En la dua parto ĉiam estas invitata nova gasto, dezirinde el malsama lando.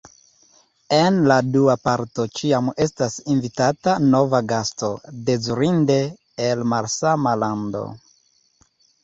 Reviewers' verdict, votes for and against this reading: accepted, 2, 1